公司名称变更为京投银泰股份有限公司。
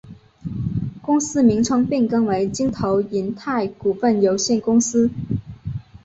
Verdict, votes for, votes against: rejected, 0, 3